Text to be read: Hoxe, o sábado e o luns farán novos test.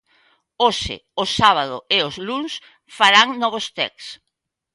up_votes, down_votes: 0, 2